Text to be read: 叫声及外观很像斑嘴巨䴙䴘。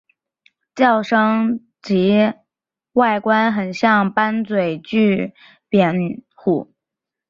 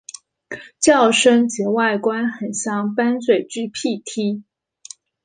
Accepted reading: second